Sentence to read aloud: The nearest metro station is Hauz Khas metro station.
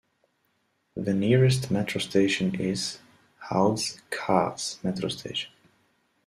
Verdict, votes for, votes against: rejected, 1, 2